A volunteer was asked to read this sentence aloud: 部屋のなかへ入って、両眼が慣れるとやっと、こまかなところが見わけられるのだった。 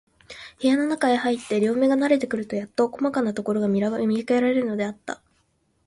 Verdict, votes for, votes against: rejected, 0, 2